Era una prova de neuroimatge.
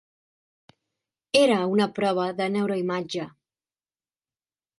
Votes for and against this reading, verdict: 3, 0, accepted